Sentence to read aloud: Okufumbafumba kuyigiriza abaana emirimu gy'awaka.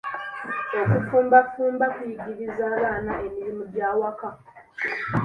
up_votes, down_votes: 2, 0